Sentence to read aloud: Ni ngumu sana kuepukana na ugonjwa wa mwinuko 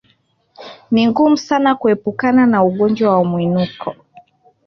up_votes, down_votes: 2, 1